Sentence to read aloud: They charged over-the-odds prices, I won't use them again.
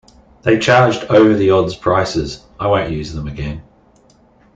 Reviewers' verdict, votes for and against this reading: accepted, 2, 0